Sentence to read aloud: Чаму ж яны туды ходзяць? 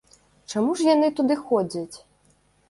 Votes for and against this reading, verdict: 0, 2, rejected